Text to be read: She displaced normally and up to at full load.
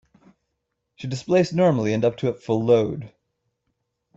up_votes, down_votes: 0, 2